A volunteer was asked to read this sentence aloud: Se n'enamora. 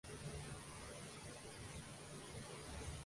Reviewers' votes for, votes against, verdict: 0, 2, rejected